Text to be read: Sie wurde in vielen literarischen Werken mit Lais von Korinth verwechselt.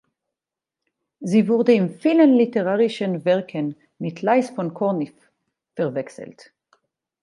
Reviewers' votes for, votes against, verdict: 2, 4, rejected